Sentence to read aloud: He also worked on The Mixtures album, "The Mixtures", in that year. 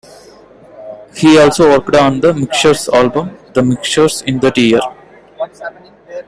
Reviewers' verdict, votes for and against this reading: accepted, 2, 1